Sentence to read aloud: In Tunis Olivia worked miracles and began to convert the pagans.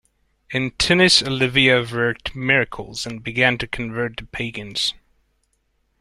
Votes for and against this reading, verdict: 1, 2, rejected